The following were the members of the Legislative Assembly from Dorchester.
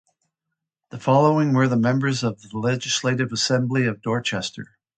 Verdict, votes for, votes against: rejected, 0, 2